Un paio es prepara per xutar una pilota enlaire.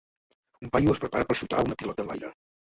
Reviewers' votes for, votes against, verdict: 1, 2, rejected